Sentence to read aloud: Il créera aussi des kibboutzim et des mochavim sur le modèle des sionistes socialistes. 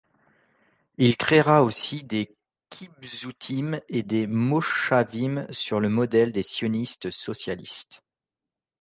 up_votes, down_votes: 1, 2